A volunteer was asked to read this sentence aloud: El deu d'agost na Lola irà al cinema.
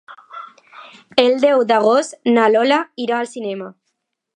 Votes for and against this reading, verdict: 2, 0, accepted